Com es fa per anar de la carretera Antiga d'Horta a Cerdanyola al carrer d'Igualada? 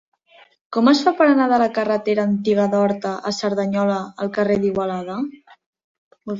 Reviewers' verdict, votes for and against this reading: rejected, 0, 2